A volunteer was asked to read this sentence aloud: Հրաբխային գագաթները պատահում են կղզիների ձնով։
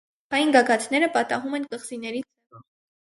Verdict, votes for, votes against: rejected, 0, 4